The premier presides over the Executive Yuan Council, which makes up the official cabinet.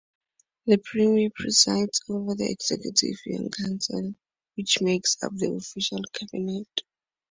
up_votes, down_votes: 2, 0